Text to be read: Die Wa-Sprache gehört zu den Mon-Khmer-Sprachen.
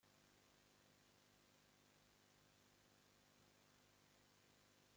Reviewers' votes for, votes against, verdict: 0, 2, rejected